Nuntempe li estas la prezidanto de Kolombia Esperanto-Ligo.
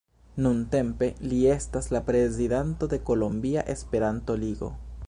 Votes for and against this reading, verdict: 0, 2, rejected